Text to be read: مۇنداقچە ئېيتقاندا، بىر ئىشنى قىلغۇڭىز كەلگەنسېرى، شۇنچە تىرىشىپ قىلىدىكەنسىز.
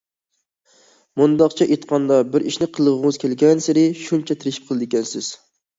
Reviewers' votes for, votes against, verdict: 2, 0, accepted